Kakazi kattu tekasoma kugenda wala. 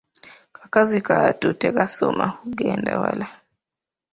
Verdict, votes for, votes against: rejected, 0, 2